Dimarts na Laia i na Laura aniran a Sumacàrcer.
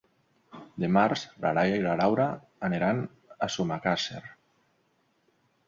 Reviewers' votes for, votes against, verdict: 0, 2, rejected